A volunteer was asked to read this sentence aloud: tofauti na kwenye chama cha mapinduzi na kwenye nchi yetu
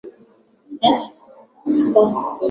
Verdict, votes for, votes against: rejected, 0, 5